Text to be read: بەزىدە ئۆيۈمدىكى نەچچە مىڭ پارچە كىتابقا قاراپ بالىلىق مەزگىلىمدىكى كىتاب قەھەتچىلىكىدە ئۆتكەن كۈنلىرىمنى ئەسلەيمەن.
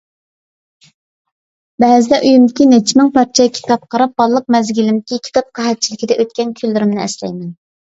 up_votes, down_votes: 2, 0